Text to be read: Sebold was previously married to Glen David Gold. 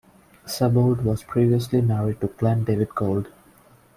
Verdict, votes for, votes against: rejected, 1, 2